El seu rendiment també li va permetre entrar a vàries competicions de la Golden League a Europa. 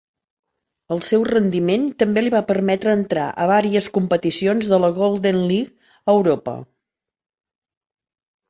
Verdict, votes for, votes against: accepted, 2, 0